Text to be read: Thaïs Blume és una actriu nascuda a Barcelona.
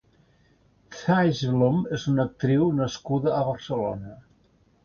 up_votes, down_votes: 0, 2